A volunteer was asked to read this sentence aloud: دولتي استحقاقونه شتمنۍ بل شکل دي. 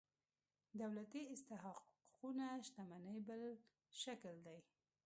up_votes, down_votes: 0, 3